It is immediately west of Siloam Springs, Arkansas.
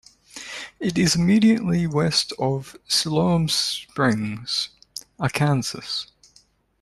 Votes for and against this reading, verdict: 0, 2, rejected